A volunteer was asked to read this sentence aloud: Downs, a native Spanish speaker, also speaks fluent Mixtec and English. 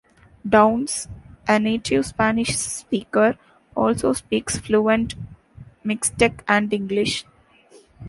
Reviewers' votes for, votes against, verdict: 2, 0, accepted